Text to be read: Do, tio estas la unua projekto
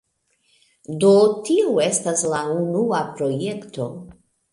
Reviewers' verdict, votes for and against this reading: accepted, 2, 0